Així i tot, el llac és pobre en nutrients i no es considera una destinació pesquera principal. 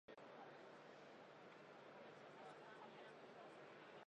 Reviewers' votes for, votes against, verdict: 0, 2, rejected